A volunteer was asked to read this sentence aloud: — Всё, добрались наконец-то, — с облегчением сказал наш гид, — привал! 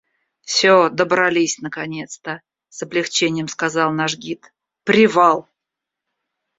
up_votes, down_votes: 2, 0